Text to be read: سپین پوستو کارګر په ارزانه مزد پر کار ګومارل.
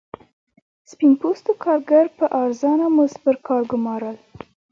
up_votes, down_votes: 2, 1